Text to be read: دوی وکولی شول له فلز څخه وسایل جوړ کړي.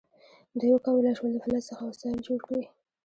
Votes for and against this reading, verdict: 2, 0, accepted